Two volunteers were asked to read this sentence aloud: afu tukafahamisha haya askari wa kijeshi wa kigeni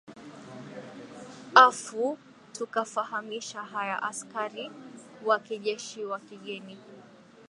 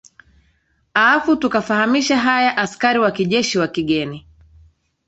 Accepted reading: second